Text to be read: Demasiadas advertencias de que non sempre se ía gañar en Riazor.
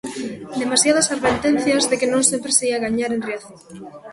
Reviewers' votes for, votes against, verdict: 2, 1, accepted